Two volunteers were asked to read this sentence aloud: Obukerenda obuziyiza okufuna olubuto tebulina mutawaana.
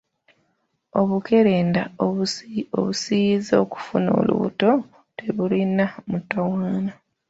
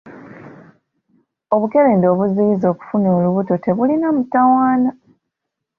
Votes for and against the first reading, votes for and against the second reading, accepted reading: 0, 2, 2, 0, second